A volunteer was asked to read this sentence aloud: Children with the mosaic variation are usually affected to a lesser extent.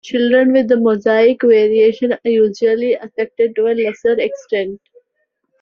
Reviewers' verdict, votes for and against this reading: accepted, 2, 0